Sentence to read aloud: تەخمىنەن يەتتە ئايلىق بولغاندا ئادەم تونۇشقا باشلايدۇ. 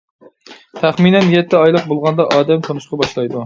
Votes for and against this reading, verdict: 2, 0, accepted